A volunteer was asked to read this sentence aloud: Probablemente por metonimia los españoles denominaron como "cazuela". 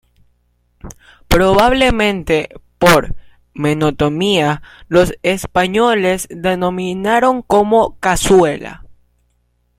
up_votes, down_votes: 0, 2